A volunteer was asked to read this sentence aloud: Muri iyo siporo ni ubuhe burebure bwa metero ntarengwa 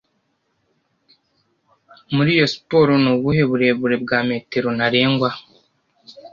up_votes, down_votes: 2, 0